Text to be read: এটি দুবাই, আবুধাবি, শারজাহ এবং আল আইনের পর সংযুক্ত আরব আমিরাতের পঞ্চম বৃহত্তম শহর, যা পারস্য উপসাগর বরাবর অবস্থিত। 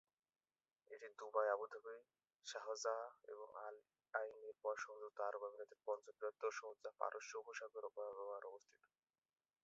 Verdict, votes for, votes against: rejected, 0, 2